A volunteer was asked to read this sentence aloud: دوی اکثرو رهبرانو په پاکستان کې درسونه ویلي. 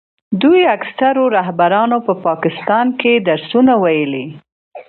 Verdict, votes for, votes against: accepted, 2, 0